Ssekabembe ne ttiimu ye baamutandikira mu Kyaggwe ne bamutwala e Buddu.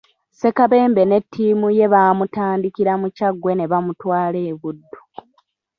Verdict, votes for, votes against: accepted, 3, 1